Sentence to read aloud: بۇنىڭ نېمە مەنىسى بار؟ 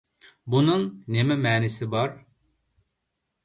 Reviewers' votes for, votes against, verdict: 2, 0, accepted